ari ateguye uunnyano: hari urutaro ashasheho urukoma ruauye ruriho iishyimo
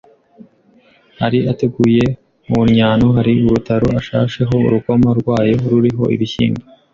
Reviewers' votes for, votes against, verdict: 0, 2, rejected